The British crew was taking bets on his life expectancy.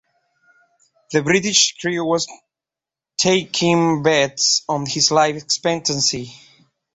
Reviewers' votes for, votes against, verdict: 0, 2, rejected